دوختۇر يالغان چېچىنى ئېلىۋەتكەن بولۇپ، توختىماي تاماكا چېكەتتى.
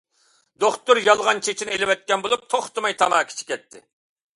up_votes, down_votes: 2, 0